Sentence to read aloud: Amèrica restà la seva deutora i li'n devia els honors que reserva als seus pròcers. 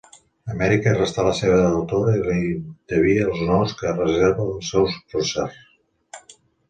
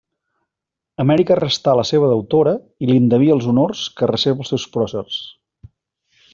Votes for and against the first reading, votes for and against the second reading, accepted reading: 0, 2, 2, 0, second